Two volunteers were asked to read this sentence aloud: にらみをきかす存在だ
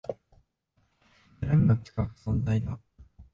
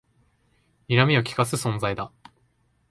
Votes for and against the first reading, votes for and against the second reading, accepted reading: 3, 4, 2, 0, second